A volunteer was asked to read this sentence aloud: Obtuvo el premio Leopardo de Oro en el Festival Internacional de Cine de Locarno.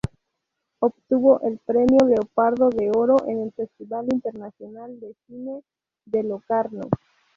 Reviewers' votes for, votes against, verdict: 2, 0, accepted